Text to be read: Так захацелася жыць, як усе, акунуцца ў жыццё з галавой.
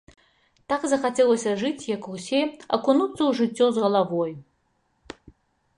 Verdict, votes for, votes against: accepted, 2, 0